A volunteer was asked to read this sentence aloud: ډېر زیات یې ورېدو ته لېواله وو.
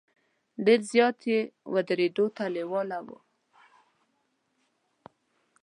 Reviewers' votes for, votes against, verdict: 0, 2, rejected